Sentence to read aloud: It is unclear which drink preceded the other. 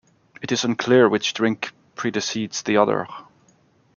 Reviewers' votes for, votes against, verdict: 2, 0, accepted